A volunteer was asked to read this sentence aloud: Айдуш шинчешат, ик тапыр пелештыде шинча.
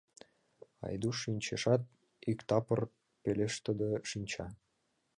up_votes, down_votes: 1, 3